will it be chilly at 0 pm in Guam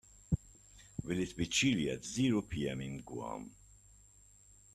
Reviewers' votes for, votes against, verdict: 0, 2, rejected